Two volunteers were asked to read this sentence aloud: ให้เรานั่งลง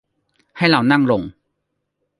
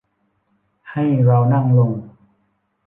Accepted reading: first